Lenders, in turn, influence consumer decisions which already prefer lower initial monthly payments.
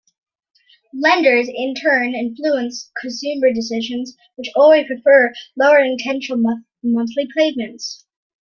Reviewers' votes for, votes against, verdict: 0, 2, rejected